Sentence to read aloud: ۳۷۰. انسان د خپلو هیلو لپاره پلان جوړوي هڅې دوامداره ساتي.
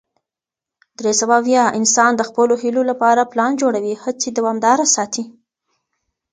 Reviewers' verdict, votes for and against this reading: rejected, 0, 2